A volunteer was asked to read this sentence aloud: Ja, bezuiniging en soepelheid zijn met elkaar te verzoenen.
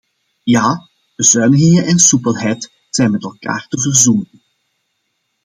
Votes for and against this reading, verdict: 2, 0, accepted